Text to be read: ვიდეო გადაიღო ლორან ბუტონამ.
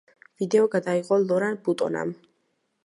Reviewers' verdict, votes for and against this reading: accepted, 2, 1